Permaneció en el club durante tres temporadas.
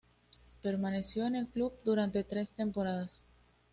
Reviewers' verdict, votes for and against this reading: accepted, 2, 0